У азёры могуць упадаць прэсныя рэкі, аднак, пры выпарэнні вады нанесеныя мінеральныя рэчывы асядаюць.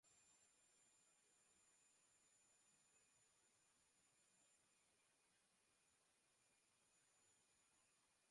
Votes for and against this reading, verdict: 0, 2, rejected